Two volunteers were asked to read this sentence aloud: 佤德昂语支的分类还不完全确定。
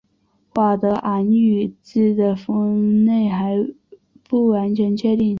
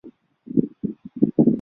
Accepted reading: first